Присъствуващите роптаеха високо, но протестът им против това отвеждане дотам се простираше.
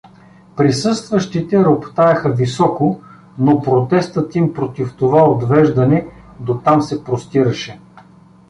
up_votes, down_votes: 1, 2